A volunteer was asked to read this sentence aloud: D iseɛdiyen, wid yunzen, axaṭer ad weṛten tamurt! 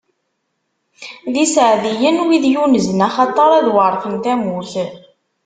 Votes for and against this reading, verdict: 2, 0, accepted